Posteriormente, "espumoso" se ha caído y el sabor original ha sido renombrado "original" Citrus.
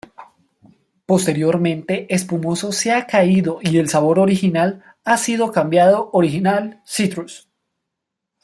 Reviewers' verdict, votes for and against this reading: rejected, 1, 2